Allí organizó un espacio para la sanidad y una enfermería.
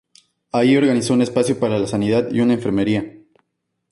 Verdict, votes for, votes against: accepted, 4, 0